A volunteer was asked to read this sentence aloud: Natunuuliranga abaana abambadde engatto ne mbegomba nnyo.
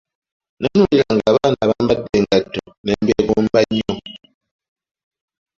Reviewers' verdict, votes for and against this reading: rejected, 1, 2